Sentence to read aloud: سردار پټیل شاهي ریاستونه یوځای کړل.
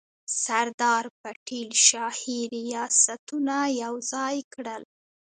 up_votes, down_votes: 2, 0